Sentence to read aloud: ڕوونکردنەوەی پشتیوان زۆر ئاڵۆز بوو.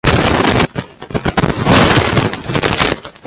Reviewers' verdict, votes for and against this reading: rejected, 0, 2